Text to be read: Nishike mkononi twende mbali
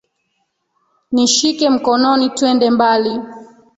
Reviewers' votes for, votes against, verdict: 0, 2, rejected